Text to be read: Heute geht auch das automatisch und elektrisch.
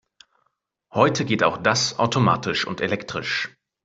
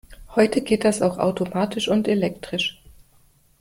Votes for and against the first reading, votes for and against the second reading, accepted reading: 2, 0, 0, 2, first